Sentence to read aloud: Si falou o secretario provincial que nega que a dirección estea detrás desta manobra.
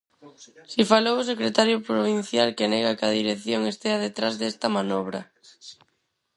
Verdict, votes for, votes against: rejected, 0, 4